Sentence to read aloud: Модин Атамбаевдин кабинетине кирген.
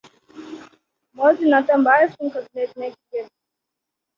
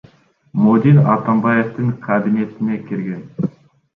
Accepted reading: second